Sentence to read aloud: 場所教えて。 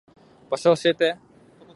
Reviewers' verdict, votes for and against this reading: accepted, 2, 0